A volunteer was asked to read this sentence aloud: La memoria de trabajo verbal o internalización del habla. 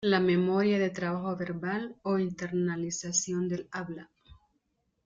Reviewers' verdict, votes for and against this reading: accepted, 2, 0